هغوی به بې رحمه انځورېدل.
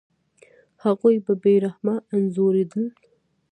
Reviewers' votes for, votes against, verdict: 2, 1, accepted